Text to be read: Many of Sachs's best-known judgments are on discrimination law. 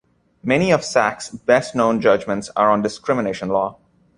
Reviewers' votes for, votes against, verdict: 2, 0, accepted